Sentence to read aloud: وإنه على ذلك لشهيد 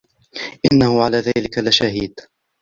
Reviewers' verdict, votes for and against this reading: accepted, 2, 1